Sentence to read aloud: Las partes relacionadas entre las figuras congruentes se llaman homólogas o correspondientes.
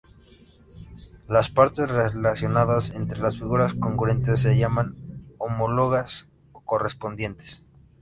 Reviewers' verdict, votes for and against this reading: accepted, 2, 1